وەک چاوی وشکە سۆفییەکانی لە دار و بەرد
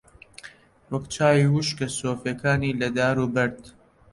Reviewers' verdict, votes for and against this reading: accepted, 2, 0